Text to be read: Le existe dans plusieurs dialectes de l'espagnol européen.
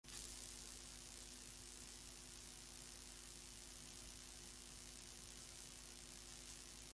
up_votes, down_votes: 0, 2